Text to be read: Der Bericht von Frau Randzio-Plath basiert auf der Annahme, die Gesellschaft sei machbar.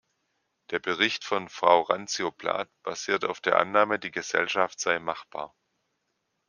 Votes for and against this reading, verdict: 2, 0, accepted